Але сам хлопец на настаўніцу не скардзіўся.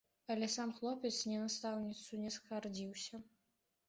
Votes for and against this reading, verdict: 0, 2, rejected